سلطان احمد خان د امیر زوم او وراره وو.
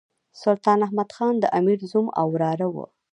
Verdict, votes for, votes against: rejected, 1, 2